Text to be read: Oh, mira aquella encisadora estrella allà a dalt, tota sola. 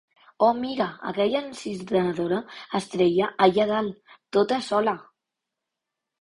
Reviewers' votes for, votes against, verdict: 1, 2, rejected